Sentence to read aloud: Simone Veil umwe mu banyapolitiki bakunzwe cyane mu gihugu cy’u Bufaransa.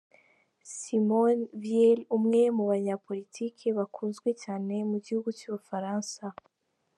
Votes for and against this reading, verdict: 1, 2, rejected